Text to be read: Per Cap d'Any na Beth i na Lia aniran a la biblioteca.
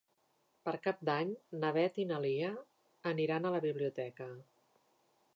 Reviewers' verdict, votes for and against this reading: accepted, 3, 0